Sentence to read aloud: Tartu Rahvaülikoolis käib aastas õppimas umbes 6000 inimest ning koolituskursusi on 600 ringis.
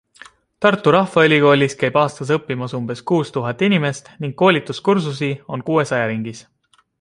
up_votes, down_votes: 0, 2